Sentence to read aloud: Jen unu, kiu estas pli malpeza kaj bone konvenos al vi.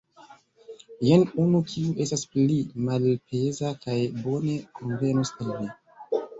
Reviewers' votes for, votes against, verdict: 2, 0, accepted